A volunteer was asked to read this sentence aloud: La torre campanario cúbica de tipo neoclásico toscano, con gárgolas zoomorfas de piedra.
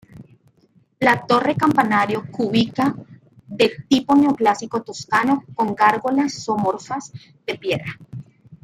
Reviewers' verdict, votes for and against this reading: accepted, 2, 1